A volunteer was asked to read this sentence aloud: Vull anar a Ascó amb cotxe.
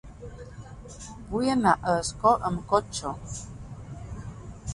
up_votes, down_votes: 3, 0